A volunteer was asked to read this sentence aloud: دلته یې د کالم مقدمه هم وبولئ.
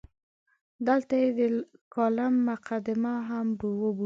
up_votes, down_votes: 0, 2